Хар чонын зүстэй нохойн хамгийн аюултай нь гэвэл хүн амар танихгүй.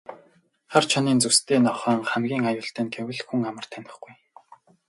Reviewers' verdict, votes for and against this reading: accepted, 8, 0